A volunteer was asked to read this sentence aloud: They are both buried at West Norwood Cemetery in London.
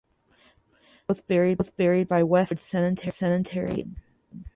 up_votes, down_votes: 0, 4